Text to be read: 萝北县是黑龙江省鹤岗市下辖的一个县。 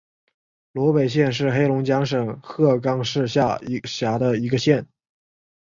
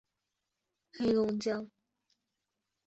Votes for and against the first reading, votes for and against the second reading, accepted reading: 2, 1, 0, 2, first